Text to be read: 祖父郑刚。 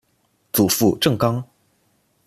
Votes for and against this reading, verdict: 2, 0, accepted